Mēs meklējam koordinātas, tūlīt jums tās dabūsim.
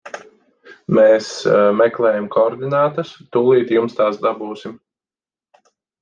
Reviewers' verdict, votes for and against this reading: rejected, 0, 4